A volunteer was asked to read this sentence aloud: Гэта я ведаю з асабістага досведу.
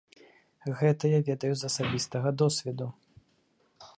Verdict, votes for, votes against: accepted, 2, 0